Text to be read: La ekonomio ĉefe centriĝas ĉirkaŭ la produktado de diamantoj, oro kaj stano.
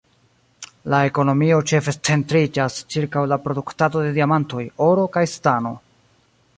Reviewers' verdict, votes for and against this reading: rejected, 0, 2